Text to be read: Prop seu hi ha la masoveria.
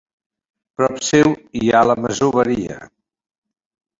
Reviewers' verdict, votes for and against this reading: accepted, 2, 0